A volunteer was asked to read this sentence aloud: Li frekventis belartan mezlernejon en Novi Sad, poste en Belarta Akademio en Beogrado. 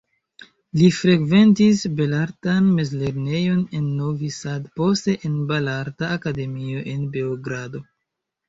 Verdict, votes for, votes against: rejected, 0, 2